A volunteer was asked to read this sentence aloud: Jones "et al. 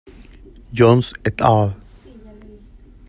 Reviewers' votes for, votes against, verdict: 1, 2, rejected